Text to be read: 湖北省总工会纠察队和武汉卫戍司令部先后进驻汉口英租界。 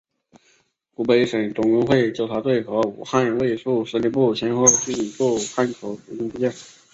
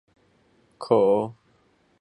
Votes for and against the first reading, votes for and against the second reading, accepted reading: 3, 0, 3, 6, first